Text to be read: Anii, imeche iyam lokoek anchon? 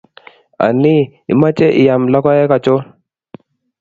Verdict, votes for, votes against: accepted, 4, 0